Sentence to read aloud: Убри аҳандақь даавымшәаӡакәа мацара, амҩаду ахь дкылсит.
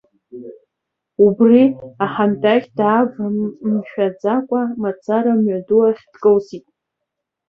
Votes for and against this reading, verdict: 1, 2, rejected